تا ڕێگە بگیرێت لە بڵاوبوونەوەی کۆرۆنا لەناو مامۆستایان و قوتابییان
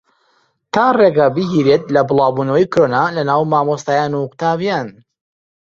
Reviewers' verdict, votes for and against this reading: accepted, 2, 0